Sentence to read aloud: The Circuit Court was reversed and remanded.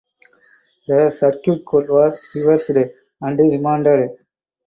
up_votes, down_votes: 2, 4